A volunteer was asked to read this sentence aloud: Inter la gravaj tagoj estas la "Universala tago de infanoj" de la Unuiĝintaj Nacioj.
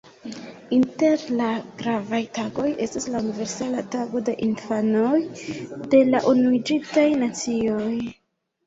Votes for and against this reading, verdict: 1, 2, rejected